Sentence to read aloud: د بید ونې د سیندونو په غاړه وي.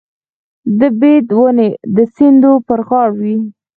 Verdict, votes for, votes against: rejected, 2, 4